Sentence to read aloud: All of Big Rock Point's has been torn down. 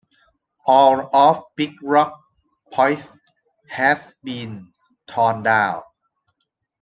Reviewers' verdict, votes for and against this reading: rejected, 1, 2